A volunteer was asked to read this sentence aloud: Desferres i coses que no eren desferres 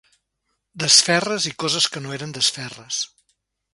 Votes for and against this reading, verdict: 2, 0, accepted